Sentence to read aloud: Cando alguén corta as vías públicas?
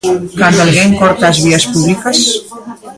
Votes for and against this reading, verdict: 0, 2, rejected